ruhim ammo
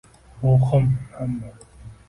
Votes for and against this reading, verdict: 2, 0, accepted